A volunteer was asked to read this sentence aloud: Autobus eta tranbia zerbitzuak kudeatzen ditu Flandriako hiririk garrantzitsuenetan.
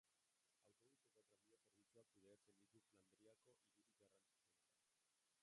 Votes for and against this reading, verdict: 0, 2, rejected